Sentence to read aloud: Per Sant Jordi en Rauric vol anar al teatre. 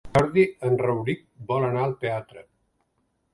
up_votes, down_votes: 0, 2